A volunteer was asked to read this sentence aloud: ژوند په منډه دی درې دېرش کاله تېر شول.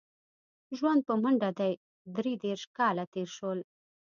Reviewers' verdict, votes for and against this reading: accepted, 2, 0